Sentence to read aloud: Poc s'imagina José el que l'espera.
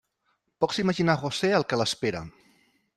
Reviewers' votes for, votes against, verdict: 1, 2, rejected